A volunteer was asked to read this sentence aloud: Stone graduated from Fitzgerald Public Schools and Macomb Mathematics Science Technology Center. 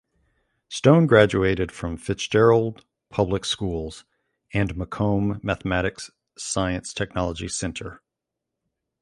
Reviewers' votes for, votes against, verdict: 3, 0, accepted